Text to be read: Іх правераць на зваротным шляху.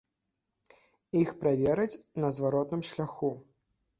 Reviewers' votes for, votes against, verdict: 2, 0, accepted